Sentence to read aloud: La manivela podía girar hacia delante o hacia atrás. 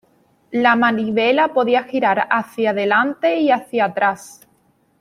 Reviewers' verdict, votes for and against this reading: rejected, 1, 2